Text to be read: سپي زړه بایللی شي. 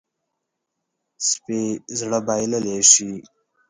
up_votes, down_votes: 4, 0